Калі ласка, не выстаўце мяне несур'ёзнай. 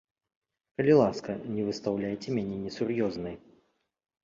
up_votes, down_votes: 1, 2